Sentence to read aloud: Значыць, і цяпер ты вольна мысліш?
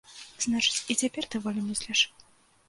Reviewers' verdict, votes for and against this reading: rejected, 1, 2